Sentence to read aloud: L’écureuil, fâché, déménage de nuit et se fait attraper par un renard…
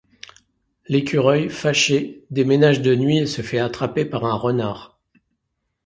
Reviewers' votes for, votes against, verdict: 2, 0, accepted